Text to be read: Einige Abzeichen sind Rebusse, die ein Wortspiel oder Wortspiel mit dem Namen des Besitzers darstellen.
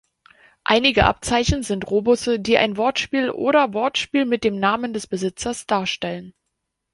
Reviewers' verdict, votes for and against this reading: rejected, 0, 2